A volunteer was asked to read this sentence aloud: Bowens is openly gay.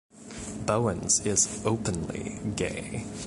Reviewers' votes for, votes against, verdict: 2, 0, accepted